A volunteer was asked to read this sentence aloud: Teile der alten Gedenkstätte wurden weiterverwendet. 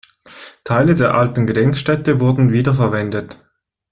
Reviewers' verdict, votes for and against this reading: rejected, 1, 2